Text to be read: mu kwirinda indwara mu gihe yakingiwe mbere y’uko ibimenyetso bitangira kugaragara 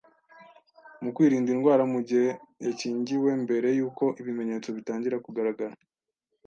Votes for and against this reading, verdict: 2, 0, accepted